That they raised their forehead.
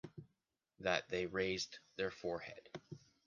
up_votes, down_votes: 2, 0